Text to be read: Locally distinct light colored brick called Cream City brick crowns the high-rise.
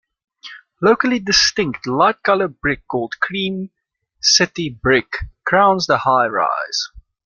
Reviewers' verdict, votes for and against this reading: accepted, 2, 0